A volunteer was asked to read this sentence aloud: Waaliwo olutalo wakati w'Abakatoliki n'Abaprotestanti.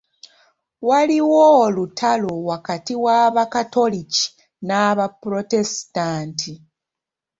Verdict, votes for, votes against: rejected, 1, 2